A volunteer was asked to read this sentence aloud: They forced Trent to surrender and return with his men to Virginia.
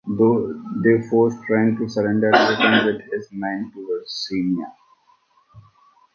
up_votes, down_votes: 0, 2